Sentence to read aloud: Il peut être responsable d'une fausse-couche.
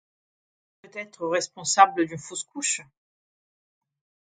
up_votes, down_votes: 2, 0